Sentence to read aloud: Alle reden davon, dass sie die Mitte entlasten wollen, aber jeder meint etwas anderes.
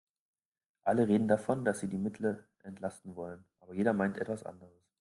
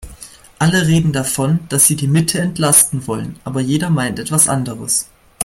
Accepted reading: second